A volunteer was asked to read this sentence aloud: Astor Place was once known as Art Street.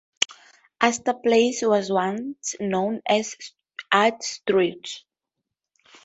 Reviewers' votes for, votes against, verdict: 0, 2, rejected